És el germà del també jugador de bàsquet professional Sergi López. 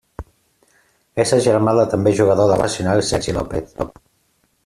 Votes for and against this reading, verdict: 0, 2, rejected